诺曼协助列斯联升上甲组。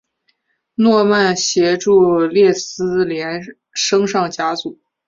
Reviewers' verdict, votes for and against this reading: accepted, 3, 2